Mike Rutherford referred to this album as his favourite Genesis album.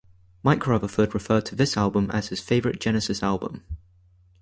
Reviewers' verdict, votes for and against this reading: accepted, 4, 0